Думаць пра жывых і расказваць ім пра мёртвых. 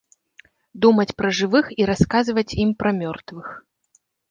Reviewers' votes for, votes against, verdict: 2, 0, accepted